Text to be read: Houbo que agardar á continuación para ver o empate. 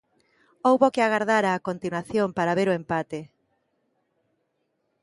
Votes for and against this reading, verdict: 2, 0, accepted